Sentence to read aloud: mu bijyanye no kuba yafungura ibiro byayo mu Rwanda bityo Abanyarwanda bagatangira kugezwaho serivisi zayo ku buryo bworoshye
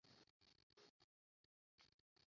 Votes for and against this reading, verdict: 0, 2, rejected